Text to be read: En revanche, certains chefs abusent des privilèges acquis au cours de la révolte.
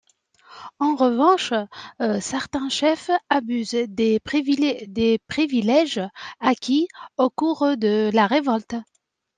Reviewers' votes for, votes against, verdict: 0, 2, rejected